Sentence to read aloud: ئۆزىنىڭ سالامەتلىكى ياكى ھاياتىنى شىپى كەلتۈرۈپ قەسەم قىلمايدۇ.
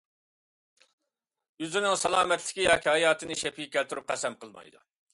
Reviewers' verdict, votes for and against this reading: rejected, 1, 2